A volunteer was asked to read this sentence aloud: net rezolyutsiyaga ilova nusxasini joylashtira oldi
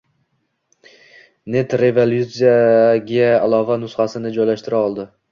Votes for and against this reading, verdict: 1, 2, rejected